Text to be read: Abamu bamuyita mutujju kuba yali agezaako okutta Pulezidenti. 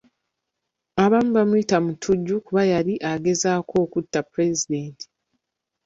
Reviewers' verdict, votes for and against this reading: rejected, 1, 2